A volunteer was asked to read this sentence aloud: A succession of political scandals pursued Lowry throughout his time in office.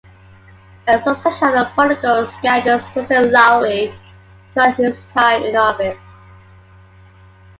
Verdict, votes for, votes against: accepted, 2, 1